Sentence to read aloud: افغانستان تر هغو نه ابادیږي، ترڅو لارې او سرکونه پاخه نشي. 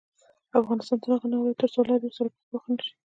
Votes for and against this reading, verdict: 0, 2, rejected